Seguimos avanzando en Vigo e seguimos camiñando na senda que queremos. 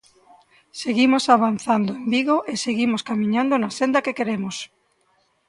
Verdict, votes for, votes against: accepted, 2, 0